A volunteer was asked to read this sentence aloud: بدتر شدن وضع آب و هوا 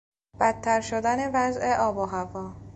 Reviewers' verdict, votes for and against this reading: accepted, 2, 0